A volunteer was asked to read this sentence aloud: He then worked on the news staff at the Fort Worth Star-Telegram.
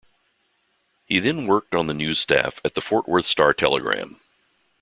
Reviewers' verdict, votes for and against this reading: accepted, 2, 0